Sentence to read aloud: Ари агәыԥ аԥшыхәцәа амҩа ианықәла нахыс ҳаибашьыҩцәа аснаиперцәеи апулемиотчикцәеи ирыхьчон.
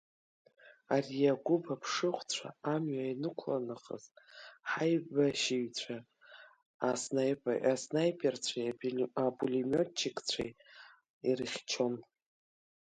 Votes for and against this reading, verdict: 0, 2, rejected